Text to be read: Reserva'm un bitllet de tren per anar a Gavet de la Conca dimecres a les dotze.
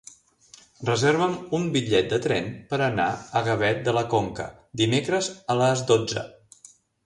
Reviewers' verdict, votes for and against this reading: accepted, 4, 0